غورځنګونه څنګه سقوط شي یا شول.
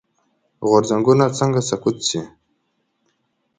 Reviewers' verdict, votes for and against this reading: rejected, 0, 2